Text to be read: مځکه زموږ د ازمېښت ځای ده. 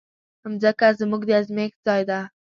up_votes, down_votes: 2, 0